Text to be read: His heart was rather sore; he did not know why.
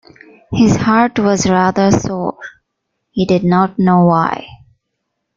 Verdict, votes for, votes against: accepted, 2, 0